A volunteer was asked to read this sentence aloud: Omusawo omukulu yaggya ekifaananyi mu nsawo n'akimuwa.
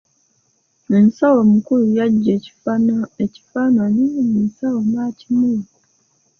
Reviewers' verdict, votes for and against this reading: accepted, 2, 1